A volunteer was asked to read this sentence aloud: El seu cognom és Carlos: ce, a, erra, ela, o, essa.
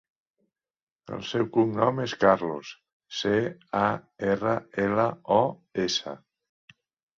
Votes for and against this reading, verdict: 3, 0, accepted